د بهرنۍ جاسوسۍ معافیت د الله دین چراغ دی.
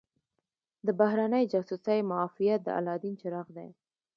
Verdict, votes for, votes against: accepted, 2, 0